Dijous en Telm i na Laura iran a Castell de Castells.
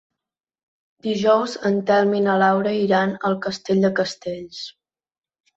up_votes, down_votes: 1, 2